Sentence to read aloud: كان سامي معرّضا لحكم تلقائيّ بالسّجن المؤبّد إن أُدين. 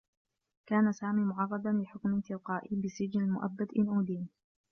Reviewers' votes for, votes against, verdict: 2, 0, accepted